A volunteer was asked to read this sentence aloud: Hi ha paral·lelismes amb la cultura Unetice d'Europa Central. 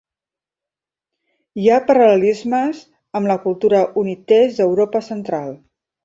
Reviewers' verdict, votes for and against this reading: rejected, 1, 2